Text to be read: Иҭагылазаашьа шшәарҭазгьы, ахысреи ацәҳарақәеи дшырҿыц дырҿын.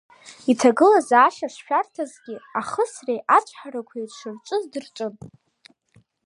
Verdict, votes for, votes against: accepted, 2, 0